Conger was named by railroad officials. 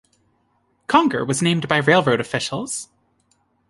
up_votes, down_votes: 2, 0